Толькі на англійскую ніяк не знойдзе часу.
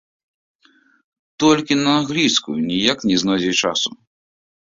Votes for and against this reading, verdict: 1, 2, rejected